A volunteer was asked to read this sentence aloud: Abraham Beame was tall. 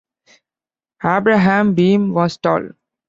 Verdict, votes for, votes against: accepted, 2, 1